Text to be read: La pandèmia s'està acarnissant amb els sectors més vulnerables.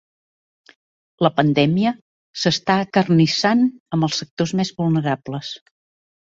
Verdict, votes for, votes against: accepted, 2, 0